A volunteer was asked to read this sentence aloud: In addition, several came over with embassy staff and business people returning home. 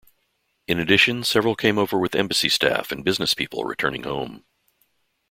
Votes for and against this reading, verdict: 2, 0, accepted